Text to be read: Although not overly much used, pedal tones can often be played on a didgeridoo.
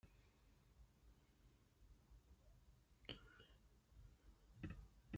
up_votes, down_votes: 0, 2